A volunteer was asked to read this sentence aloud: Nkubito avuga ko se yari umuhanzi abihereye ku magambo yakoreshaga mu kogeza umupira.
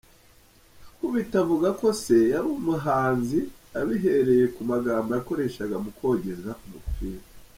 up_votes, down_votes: 2, 0